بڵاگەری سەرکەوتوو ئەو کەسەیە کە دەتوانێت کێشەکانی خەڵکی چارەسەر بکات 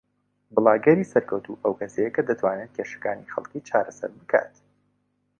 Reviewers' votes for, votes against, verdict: 2, 1, accepted